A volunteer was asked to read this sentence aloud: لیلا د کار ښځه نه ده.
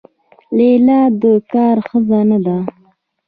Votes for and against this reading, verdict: 1, 2, rejected